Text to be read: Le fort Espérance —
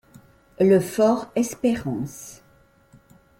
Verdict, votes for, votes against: accepted, 2, 0